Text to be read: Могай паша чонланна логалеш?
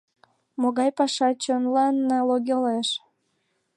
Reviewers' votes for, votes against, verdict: 2, 5, rejected